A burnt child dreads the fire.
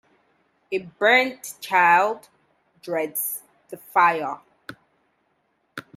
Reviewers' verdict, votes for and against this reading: accepted, 2, 0